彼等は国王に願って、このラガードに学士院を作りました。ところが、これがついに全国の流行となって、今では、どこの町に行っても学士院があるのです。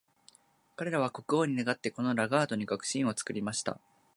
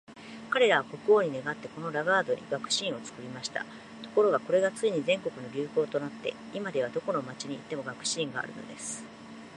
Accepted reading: second